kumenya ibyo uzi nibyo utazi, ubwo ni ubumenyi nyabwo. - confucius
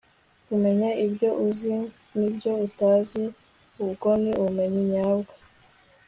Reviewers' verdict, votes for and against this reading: accepted, 2, 1